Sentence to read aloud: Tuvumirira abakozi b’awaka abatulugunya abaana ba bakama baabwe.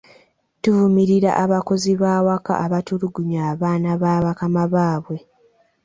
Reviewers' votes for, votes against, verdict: 2, 0, accepted